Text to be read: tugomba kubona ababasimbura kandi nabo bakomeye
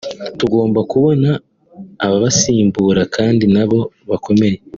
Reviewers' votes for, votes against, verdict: 2, 1, accepted